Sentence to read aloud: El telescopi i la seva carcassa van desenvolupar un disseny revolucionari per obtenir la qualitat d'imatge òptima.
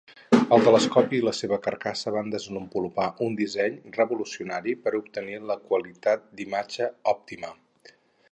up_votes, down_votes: 0, 2